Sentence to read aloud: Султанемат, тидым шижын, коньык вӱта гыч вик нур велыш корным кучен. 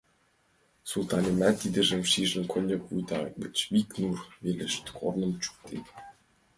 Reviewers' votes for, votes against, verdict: 1, 2, rejected